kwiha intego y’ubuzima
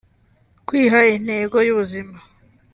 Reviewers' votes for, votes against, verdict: 2, 0, accepted